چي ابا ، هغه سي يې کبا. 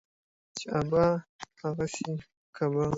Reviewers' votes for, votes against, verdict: 2, 0, accepted